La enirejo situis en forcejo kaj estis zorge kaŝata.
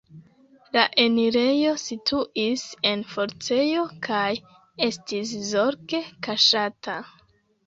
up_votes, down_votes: 2, 1